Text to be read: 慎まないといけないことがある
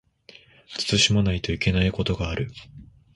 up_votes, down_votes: 2, 0